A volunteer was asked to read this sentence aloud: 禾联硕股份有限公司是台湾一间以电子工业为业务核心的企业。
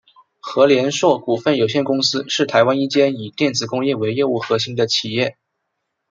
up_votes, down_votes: 2, 0